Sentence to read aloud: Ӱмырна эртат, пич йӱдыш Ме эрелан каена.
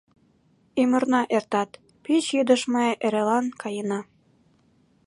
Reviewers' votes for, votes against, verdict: 2, 0, accepted